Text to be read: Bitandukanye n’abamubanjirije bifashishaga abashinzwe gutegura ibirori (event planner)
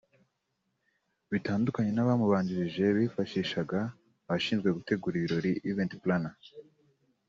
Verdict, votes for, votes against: accepted, 2, 0